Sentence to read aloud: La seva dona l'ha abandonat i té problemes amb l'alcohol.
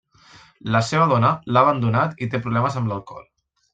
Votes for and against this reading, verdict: 3, 0, accepted